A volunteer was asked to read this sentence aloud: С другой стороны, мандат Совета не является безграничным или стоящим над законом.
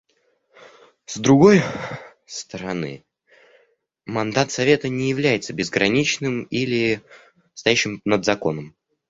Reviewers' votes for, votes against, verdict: 0, 2, rejected